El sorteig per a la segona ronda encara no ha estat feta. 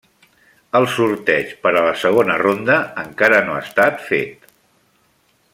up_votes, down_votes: 2, 1